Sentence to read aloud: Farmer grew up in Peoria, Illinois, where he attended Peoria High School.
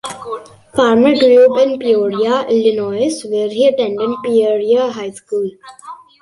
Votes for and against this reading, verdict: 2, 0, accepted